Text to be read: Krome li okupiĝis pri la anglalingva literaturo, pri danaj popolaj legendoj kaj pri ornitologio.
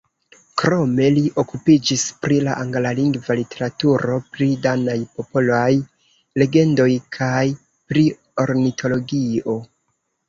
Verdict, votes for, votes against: rejected, 0, 2